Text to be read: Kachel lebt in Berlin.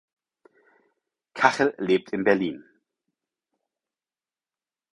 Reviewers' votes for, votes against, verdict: 4, 0, accepted